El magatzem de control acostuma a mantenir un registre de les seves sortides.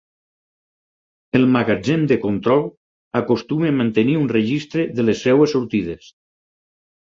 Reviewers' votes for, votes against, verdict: 2, 4, rejected